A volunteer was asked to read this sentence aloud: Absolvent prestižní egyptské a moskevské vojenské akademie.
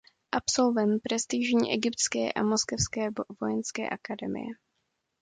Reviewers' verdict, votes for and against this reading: rejected, 1, 2